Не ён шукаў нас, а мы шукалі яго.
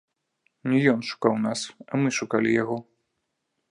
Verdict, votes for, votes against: rejected, 1, 2